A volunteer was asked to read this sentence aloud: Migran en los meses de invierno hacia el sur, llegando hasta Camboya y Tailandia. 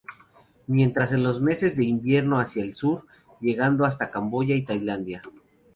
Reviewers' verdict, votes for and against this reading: accepted, 2, 0